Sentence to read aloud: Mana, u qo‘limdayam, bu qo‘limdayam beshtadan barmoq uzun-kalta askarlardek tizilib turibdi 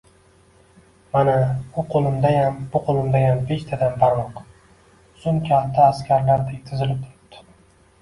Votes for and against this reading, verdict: 3, 0, accepted